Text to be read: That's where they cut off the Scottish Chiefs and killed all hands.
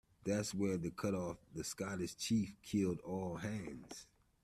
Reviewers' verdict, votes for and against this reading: rejected, 0, 2